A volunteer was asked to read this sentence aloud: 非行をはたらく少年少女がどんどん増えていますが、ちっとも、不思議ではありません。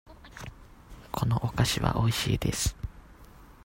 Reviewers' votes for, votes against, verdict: 0, 2, rejected